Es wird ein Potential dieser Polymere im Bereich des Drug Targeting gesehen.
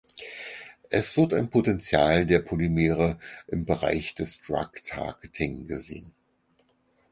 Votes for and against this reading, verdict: 0, 4, rejected